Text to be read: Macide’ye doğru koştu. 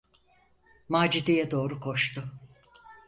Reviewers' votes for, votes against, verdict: 4, 0, accepted